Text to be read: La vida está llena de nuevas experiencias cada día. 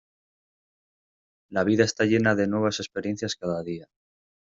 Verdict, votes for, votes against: accepted, 2, 0